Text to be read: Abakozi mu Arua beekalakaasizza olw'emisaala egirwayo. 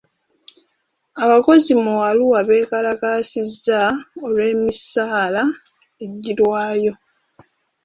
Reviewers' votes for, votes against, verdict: 1, 2, rejected